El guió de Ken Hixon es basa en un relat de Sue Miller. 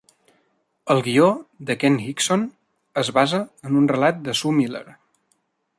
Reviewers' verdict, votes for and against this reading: accepted, 2, 0